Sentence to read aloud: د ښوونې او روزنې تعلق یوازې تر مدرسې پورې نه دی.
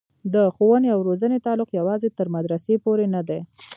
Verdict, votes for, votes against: rejected, 1, 2